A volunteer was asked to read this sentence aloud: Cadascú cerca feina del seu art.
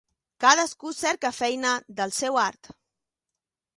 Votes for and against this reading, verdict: 2, 0, accepted